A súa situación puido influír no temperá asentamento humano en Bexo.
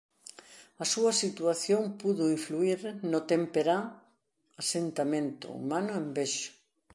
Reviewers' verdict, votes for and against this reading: rejected, 0, 2